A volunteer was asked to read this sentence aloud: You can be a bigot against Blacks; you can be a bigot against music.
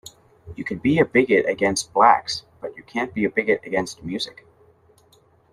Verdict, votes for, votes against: rejected, 1, 2